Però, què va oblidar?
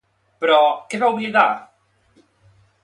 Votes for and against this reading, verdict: 2, 0, accepted